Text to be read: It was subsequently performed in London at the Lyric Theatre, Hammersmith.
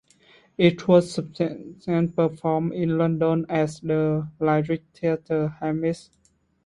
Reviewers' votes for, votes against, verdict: 0, 2, rejected